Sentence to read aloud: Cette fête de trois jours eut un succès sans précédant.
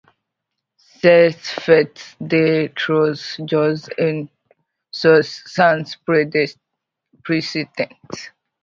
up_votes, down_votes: 1, 2